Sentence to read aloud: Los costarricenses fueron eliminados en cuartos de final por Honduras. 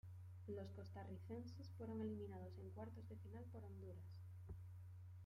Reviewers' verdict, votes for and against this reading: accepted, 2, 0